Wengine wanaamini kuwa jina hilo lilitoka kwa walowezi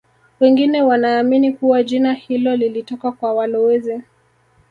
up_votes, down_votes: 3, 0